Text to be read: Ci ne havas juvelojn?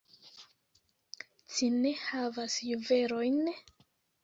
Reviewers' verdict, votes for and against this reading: accepted, 2, 1